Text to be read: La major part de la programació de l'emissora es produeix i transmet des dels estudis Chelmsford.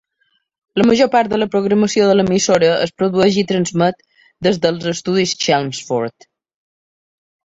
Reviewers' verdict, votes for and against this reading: accepted, 2, 0